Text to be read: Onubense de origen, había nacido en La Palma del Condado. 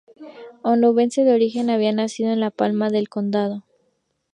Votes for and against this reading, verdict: 0, 2, rejected